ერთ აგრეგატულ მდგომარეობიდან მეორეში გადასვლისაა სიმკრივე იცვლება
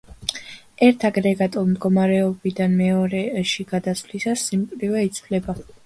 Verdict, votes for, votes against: accepted, 2, 0